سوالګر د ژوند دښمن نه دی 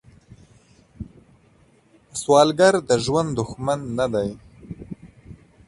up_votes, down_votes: 2, 0